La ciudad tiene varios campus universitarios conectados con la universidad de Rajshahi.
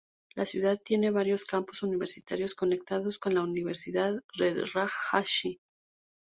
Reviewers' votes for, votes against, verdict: 0, 2, rejected